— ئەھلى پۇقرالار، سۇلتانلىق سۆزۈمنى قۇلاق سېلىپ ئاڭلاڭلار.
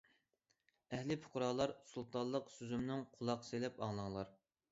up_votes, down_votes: 1, 2